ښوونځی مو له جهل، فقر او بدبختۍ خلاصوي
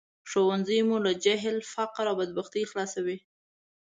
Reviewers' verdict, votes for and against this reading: accepted, 2, 0